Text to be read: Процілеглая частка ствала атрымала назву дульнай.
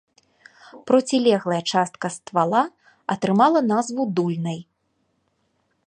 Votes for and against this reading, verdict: 2, 0, accepted